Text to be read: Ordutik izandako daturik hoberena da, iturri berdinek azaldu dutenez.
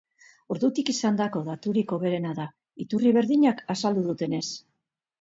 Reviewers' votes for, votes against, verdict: 0, 2, rejected